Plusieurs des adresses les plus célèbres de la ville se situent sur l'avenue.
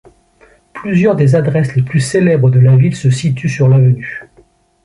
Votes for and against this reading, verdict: 3, 0, accepted